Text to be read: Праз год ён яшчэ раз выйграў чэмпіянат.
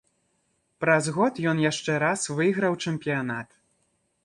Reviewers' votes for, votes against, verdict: 2, 0, accepted